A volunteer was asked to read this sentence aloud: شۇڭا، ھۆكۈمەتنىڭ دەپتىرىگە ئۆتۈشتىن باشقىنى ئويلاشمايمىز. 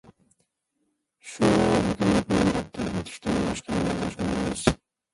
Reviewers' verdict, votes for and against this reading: rejected, 0, 2